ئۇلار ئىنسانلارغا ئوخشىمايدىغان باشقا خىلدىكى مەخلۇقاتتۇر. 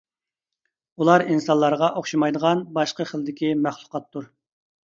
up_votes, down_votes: 2, 0